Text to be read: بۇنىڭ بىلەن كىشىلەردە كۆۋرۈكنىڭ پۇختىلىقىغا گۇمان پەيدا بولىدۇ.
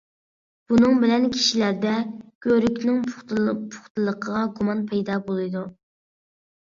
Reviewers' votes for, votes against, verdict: 0, 2, rejected